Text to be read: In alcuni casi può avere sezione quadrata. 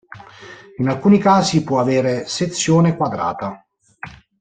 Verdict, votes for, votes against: accepted, 2, 0